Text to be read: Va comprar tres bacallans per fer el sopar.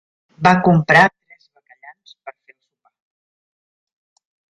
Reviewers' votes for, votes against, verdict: 0, 2, rejected